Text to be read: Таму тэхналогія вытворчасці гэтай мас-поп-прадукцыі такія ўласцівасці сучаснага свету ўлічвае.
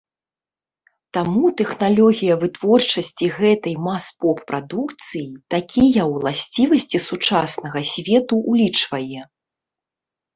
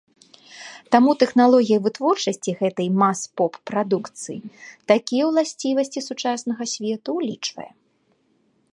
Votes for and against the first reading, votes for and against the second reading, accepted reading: 0, 2, 2, 0, second